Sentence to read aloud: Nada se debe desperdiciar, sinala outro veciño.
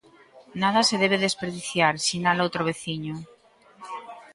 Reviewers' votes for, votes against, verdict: 3, 0, accepted